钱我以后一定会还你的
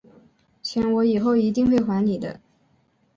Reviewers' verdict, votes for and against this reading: accepted, 2, 0